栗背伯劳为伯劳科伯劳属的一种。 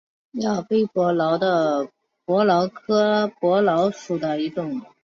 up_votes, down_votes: 1, 5